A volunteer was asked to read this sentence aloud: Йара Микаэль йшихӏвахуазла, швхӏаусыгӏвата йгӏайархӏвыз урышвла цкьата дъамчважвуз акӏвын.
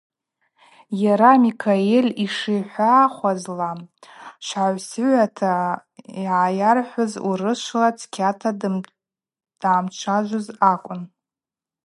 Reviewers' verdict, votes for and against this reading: accepted, 4, 0